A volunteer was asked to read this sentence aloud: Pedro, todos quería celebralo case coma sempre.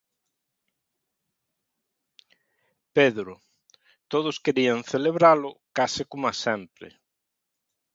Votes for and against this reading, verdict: 0, 2, rejected